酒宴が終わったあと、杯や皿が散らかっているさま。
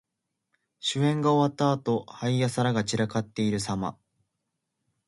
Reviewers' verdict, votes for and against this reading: accepted, 2, 0